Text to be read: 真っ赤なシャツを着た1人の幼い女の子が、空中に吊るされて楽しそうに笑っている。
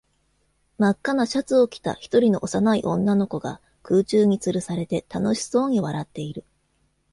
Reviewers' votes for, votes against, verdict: 0, 2, rejected